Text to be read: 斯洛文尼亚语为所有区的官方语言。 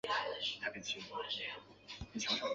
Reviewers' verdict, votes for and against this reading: rejected, 0, 2